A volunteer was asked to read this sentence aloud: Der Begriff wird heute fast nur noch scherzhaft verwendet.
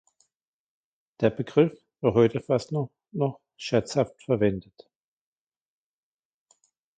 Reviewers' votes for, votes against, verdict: 2, 1, accepted